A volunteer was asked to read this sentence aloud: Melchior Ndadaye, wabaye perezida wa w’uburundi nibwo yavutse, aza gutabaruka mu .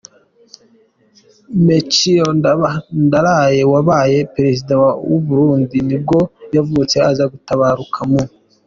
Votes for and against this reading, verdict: 2, 0, accepted